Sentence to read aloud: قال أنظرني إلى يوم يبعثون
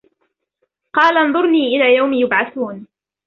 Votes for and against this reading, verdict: 2, 1, accepted